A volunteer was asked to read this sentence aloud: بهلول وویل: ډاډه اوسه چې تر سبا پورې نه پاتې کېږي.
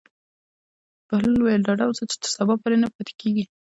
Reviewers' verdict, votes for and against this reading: rejected, 1, 2